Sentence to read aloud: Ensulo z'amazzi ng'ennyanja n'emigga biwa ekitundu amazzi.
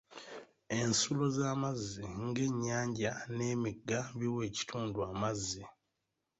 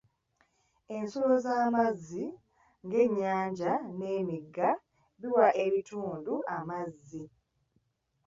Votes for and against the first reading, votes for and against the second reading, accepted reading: 1, 2, 2, 0, second